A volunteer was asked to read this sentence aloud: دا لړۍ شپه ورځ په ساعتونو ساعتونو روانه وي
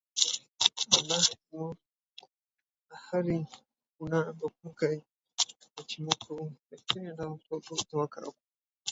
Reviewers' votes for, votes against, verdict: 0, 2, rejected